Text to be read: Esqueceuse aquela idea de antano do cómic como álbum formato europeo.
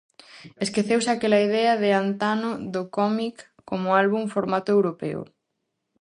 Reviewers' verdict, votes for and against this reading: accepted, 4, 0